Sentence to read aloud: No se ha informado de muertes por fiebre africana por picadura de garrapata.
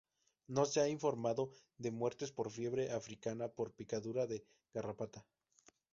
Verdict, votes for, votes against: rejected, 0, 2